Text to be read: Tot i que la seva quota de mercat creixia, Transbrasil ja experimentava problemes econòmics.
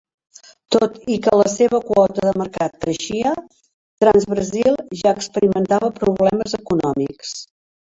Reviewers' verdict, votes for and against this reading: accepted, 2, 0